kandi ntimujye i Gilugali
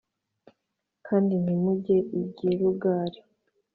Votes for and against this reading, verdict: 2, 0, accepted